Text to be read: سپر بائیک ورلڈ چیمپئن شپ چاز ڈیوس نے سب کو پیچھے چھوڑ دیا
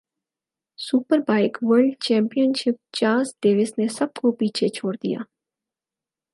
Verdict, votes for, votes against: accepted, 4, 0